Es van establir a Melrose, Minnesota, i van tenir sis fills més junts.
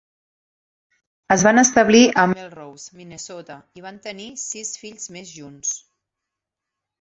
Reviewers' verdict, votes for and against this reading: accepted, 3, 0